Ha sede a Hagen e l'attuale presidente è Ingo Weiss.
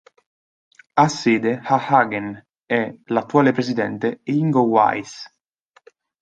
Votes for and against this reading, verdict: 2, 0, accepted